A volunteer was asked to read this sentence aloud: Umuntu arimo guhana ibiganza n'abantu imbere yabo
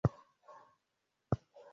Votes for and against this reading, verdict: 0, 2, rejected